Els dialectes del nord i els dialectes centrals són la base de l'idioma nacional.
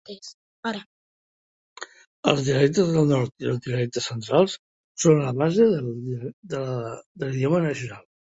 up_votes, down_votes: 1, 2